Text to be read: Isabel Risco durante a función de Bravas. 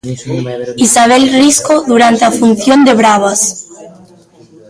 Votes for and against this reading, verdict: 2, 1, accepted